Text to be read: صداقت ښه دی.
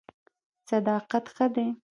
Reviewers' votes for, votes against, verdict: 0, 2, rejected